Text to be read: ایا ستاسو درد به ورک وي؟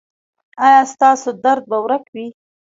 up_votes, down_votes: 0, 2